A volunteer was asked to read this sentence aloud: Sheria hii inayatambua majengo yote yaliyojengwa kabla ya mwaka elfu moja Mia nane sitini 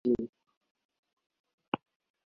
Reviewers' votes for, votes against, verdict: 0, 2, rejected